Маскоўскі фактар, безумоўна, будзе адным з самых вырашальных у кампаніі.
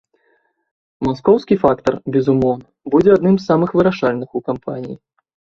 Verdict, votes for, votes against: rejected, 1, 2